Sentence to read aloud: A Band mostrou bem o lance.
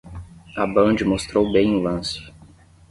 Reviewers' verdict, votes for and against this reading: rejected, 0, 5